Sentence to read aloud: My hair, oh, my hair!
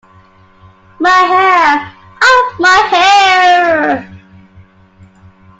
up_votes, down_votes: 2, 1